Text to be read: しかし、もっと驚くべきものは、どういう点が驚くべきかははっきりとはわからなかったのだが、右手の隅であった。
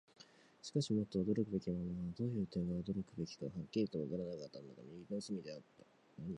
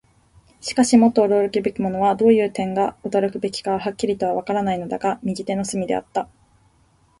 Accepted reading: second